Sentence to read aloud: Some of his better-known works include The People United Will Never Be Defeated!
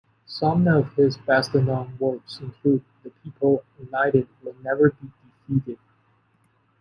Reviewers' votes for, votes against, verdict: 1, 2, rejected